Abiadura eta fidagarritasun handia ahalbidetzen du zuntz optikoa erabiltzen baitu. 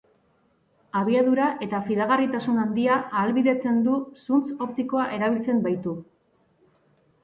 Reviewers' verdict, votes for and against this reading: accepted, 2, 0